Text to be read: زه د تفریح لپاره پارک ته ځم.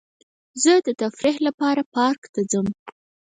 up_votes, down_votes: 2, 4